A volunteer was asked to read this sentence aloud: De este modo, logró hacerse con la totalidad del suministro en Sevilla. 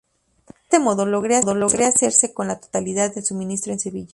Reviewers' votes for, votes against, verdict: 0, 2, rejected